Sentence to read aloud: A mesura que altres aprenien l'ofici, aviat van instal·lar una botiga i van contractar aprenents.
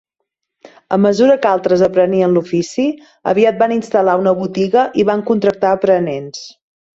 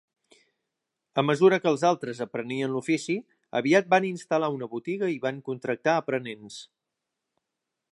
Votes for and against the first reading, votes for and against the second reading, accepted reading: 4, 0, 0, 2, first